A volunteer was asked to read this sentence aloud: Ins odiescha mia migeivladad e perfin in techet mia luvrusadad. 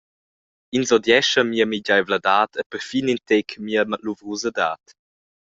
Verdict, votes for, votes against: rejected, 0, 2